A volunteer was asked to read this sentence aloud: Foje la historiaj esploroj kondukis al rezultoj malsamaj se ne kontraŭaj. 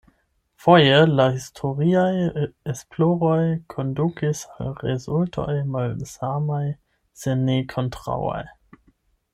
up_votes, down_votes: 0, 8